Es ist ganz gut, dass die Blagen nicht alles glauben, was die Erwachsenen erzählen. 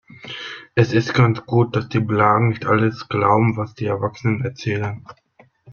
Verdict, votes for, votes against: accepted, 2, 0